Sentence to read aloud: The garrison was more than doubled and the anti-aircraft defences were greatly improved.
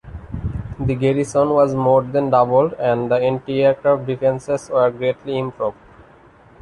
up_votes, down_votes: 0, 2